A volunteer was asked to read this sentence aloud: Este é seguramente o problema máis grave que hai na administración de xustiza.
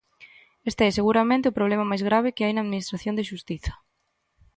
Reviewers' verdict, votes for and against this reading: accepted, 2, 0